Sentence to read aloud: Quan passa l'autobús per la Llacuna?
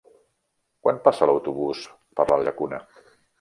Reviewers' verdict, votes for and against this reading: accepted, 3, 0